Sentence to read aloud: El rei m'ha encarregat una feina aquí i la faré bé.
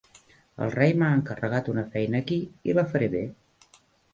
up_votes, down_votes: 1, 2